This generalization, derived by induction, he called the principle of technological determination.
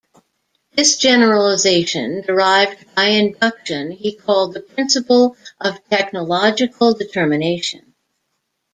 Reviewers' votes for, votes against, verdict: 1, 2, rejected